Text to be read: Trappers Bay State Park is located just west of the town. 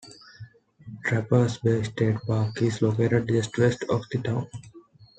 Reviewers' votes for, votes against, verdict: 3, 1, accepted